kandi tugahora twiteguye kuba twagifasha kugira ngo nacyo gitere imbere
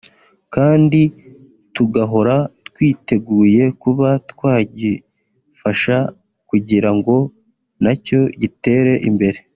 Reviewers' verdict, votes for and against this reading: rejected, 1, 2